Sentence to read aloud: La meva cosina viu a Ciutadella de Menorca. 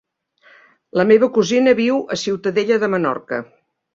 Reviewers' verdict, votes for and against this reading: accepted, 3, 0